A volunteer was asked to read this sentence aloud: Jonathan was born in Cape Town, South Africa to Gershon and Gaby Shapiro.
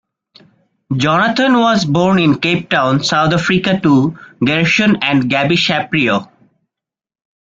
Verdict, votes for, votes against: rejected, 0, 2